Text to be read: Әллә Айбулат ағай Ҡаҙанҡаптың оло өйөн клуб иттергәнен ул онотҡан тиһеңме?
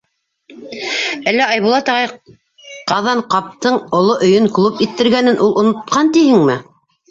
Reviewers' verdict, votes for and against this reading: rejected, 0, 2